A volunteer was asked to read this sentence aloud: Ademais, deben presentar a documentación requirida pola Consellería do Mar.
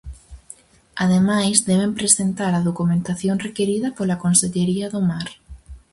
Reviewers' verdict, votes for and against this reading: accepted, 4, 0